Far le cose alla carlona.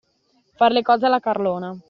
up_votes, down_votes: 2, 0